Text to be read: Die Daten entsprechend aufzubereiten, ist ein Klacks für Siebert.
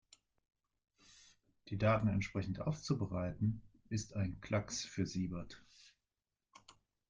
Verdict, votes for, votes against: accepted, 2, 0